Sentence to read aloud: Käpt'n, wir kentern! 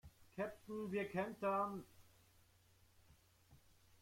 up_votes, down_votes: 1, 2